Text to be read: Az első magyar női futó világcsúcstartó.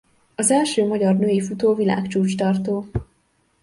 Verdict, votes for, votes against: rejected, 1, 2